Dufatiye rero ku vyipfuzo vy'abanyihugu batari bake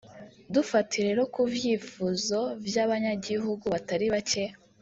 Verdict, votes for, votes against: rejected, 0, 2